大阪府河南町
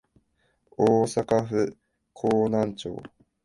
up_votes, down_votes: 3, 0